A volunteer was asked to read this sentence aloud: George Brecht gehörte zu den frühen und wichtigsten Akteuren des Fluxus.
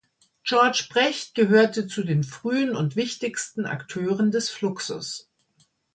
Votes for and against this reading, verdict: 2, 0, accepted